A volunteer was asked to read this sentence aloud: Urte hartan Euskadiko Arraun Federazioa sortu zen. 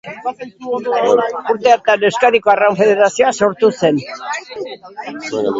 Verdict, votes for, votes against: rejected, 0, 2